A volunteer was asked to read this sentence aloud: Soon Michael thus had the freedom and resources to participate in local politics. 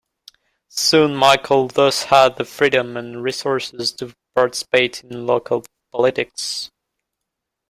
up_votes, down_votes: 1, 2